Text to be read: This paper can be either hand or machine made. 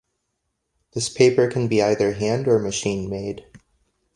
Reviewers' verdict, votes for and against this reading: accepted, 2, 1